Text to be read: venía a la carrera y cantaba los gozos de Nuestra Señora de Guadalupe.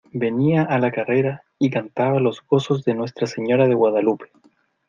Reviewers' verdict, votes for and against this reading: accepted, 2, 0